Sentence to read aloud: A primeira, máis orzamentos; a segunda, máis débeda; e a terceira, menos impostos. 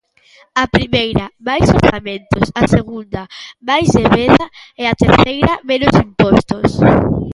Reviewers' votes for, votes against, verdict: 0, 2, rejected